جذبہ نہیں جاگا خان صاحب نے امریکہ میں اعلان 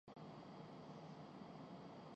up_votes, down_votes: 0, 2